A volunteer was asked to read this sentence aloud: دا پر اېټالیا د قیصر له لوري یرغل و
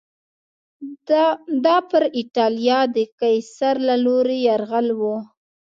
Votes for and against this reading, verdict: 2, 0, accepted